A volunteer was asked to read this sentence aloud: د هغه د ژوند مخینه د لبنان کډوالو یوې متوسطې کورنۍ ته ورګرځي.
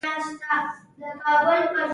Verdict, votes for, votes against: rejected, 1, 2